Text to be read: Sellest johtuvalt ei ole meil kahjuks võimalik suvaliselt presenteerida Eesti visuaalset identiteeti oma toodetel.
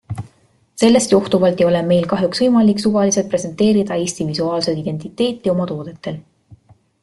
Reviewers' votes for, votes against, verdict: 2, 1, accepted